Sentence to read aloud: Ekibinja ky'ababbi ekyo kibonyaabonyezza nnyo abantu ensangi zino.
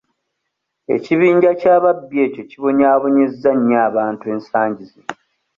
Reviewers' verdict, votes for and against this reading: accepted, 2, 0